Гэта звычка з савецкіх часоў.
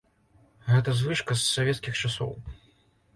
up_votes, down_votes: 3, 0